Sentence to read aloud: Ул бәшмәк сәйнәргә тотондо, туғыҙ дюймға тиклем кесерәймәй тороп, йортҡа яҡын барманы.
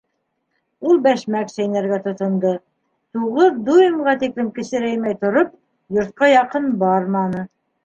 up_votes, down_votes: 1, 2